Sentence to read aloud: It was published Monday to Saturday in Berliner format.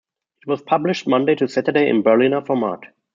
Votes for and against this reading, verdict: 2, 0, accepted